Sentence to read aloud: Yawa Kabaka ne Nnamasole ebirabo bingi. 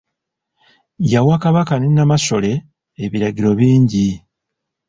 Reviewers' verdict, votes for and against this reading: rejected, 1, 2